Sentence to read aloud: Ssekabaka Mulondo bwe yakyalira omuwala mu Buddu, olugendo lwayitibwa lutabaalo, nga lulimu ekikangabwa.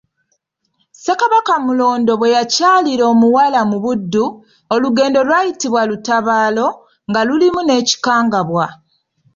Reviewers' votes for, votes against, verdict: 2, 0, accepted